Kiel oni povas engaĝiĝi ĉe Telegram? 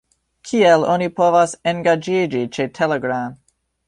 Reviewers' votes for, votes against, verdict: 3, 1, accepted